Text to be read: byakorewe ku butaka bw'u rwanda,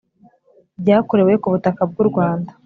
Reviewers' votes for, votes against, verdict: 3, 0, accepted